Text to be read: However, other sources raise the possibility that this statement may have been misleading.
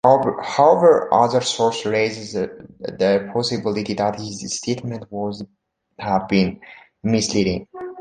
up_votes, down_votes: 0, 2